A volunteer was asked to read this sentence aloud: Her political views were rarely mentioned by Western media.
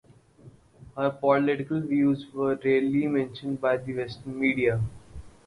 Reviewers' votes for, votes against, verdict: 4, 2, accepted